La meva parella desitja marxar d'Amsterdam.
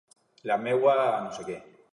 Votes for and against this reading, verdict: 0, 2, rejected